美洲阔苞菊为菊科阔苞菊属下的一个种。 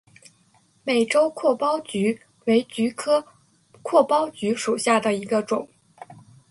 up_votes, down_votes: 2, 1